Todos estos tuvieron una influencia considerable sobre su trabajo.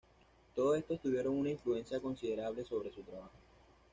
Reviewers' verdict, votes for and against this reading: accepted, 2, 0